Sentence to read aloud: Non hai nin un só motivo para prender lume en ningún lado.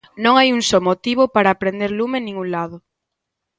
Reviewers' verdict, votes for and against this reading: rejected, 1, 2